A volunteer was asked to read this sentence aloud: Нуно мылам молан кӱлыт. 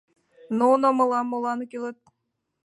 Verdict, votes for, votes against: accepted, 2, 0